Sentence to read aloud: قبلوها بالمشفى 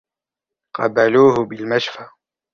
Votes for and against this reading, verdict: 0, 2, rejected